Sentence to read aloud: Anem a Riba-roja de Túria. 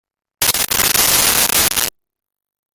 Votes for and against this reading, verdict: 0, 2, rejected